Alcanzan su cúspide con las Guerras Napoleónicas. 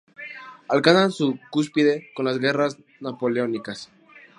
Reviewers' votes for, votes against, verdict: 2, 0, accepted